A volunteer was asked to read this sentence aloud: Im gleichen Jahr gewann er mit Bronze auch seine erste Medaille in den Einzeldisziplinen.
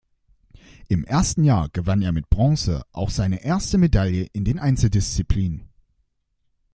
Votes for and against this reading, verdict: 0, 2, rejected